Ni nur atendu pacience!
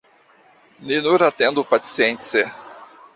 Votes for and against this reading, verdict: 1, 2, rejected